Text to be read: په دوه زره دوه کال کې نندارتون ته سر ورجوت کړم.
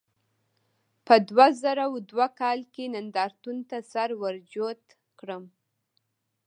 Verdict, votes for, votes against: rejected, 1, 2